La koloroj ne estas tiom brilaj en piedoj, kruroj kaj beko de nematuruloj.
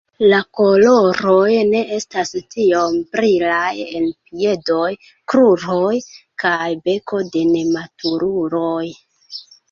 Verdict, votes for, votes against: rejected, 0, 2